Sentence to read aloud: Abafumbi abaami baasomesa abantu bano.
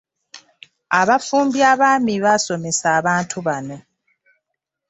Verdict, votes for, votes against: accepted, 2, 0